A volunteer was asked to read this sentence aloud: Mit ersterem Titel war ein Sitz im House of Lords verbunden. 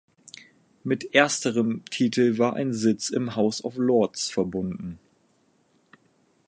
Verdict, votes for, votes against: accepted, 4, 0